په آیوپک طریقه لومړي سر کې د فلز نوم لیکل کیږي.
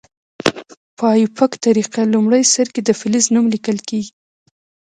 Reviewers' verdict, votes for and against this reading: rejected, 1, 2